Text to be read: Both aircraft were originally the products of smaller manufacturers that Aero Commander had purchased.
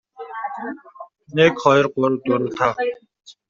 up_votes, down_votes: 0, 2